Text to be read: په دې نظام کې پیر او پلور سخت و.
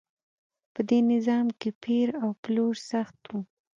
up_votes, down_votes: 2, 0